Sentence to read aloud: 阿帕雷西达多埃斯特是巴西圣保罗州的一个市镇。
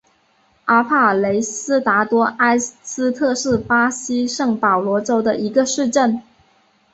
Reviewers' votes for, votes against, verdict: 5, 0, accepted